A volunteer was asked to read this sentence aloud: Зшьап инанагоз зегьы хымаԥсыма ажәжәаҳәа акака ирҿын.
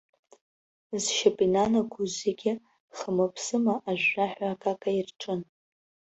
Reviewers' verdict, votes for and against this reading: accepted, 3, 0